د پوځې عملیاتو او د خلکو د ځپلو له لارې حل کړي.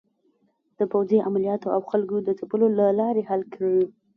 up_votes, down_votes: 1, 2